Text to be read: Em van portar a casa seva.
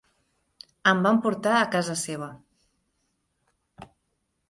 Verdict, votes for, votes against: accepted, 3, 0